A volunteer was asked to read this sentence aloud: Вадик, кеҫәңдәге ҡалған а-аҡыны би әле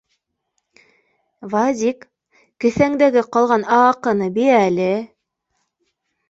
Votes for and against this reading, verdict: 2, 0, accepted